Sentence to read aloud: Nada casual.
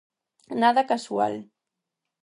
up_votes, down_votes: 4, 0